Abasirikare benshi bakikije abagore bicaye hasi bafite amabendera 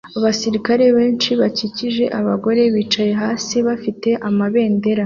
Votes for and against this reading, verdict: 2, 0, accepted